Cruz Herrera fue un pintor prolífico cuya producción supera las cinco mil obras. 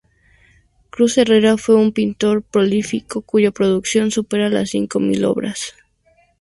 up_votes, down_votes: 2, 0